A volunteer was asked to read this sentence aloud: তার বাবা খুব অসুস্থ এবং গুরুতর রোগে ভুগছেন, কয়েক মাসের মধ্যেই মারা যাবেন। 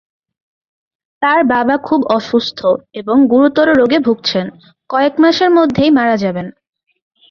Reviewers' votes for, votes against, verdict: 2, 0, accepted